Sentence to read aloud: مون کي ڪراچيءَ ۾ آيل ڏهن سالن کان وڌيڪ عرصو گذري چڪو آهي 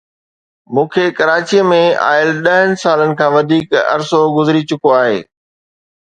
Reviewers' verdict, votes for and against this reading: accepted, 2, 0